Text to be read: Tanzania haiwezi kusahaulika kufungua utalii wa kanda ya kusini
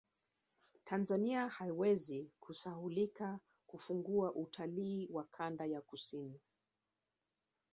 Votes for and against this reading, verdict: 1, 2, rejected